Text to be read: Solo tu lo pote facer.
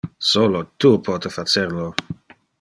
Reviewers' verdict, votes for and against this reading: rejected, 1, 2